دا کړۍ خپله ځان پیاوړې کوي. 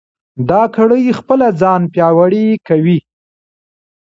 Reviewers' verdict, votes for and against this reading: rejected, 0, 2